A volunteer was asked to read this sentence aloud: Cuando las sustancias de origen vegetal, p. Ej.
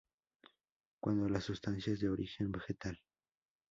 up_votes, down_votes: 0, 2